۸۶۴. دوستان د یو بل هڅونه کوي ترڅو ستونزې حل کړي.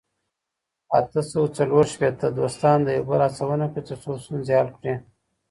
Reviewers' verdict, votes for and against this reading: rejected, 0, 2